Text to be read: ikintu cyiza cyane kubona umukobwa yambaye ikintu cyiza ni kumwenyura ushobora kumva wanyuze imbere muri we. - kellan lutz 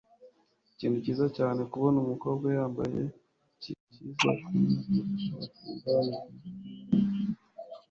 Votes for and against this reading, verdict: 1, 2, rejected